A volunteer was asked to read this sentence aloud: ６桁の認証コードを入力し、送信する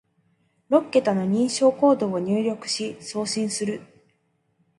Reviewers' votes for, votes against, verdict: 0, 2, rejected